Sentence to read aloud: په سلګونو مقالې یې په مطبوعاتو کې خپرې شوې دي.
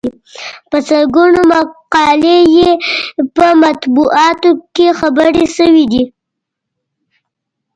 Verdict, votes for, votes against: rejected, 1, 2